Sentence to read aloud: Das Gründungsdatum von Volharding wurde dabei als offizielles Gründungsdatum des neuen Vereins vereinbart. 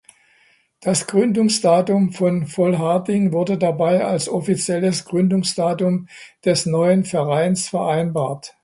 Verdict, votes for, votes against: accepted, 2, 0